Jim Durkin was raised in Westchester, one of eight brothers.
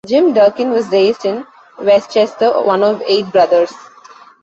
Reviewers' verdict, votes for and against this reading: accepted, 2, 0